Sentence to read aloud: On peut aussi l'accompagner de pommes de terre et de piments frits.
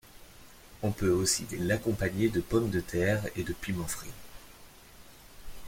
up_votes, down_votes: 2, 0